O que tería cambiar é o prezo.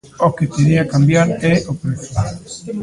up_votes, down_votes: 1, 2